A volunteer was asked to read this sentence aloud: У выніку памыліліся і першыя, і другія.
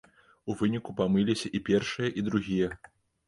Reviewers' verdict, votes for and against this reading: rejected, 0, 2